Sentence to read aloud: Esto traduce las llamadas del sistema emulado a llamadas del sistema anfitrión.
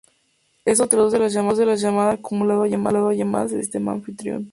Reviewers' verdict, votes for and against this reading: accepted, 4, 0